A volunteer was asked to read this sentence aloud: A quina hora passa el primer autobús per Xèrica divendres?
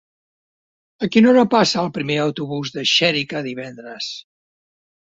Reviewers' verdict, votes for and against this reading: rejected, 1, 2